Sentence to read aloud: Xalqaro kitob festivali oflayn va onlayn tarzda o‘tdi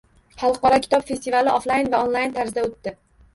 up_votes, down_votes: 1, 2